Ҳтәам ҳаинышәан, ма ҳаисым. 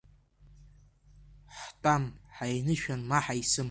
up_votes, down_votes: 2, 0